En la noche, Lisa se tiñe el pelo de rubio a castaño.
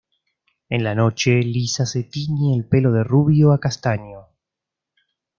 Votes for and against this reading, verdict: 2, 0, accepted